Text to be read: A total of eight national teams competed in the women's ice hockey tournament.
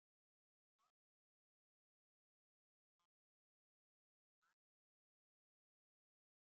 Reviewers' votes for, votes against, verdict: 0, 2, rejected